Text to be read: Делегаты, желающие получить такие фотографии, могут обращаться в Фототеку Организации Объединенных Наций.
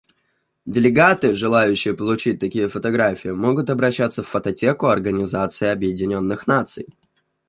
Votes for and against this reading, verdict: 2, 1, accepted